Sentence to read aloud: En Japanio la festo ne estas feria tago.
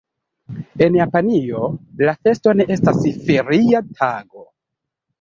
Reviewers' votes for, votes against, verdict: 2, 3, rejected